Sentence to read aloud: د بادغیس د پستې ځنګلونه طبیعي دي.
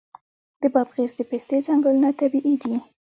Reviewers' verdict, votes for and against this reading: rejected, 0, 2